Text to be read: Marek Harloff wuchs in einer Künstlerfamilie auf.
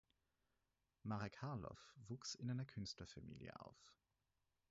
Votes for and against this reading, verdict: 4, 0, accepted